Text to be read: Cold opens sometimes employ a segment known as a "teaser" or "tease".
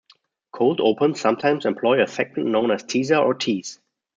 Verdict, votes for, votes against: rejected, 1, 2